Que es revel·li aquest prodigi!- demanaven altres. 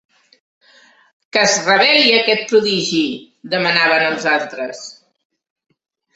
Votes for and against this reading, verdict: 0, 2, rejected